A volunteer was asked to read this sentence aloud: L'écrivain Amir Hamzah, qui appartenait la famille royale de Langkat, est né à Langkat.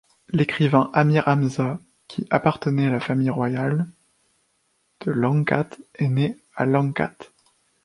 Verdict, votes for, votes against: accepted, 2, 1